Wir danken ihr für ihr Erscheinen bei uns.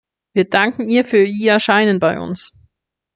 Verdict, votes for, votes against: accepted, 2, 0